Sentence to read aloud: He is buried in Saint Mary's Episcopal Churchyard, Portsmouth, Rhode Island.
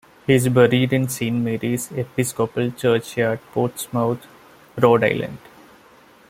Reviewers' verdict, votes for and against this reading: accepted, 2, 0